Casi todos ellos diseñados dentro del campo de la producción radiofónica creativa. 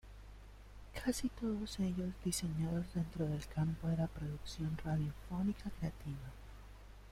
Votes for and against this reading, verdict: 1, 2, rejected